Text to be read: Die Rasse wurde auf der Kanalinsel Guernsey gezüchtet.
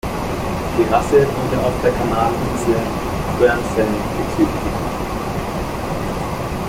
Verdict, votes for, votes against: rejected, 0, 2